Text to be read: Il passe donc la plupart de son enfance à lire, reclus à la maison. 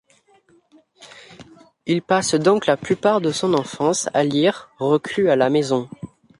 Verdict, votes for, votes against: accepted, 2, 0